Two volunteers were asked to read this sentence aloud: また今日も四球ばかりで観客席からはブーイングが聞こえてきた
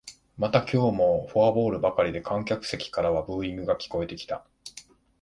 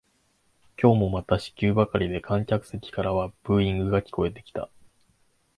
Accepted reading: first